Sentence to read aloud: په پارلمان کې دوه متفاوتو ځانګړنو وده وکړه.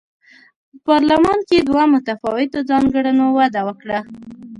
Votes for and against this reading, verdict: 2, 1, accepted